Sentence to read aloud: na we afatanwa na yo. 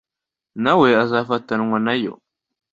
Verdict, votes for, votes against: rejected, 1, 2